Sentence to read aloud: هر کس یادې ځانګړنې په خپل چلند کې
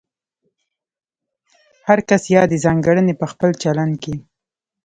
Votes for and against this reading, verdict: 1, 2, rejected